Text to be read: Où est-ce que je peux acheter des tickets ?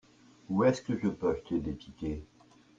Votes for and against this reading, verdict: 2, 0, accepted